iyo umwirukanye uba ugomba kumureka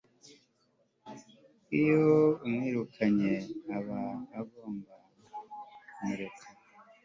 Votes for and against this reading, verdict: 0, 2, rejected